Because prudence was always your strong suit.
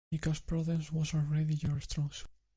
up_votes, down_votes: 1, 2